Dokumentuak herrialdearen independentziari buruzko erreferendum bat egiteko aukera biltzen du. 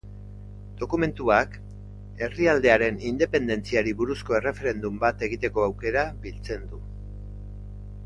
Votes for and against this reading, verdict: 2, 0, accepted